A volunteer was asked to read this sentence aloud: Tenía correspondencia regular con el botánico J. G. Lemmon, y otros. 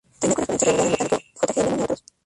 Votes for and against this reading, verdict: 0, 2, rejected